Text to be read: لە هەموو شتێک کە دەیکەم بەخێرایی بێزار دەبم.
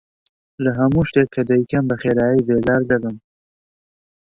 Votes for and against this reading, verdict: 3, 0, accepted